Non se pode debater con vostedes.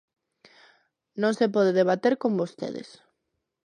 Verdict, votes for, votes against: accepted, 2, 0